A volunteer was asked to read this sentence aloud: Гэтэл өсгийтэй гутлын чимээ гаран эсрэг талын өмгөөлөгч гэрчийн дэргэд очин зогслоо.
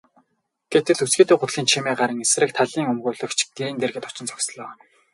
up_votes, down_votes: 0, 2